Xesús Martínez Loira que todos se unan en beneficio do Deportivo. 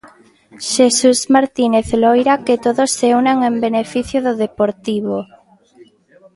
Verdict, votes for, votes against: accepted, 2, 0